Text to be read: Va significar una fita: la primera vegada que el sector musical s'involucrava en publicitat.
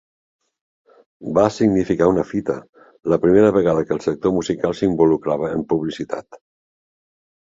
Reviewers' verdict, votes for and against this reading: accepted, 2, 0